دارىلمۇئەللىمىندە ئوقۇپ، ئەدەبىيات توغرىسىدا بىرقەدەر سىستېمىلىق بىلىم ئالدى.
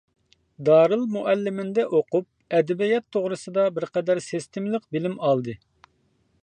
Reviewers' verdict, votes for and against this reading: accepted, 2, 0